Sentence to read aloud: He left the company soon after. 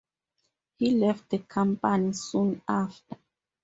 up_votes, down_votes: 0, 6